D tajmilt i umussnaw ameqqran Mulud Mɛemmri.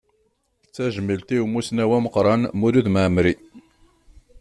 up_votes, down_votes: 2, 0